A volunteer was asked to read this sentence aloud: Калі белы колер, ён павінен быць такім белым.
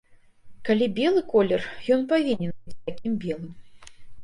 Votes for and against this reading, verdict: 0, 2, rejected